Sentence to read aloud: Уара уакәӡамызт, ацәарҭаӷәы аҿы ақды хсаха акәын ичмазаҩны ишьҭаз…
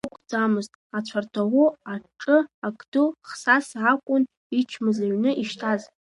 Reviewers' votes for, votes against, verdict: 1, 2, rejected